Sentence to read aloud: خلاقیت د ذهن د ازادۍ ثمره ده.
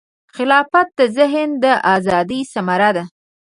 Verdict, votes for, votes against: rejected, 0, 3